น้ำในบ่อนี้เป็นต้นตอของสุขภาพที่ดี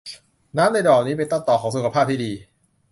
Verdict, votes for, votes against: rejected, 0, 2